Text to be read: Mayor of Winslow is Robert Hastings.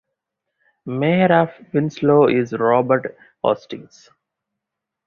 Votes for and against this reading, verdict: 4, 0, accepted